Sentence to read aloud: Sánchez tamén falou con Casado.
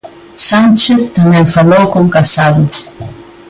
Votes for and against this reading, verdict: 2, 0, accepted